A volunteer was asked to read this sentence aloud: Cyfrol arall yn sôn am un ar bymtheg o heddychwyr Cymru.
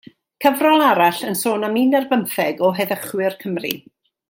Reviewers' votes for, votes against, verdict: 2, 0, accepted